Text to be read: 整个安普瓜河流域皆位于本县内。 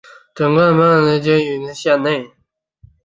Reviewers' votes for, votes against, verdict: 1, 2, rejected